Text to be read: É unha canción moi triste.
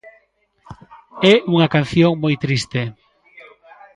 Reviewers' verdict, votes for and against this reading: accepted, 2, 0